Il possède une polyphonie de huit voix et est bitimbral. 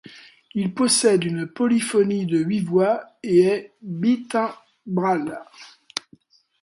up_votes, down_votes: 1, 2